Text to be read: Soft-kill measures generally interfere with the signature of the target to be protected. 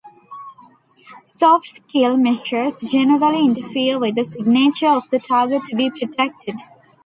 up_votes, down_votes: 2, 0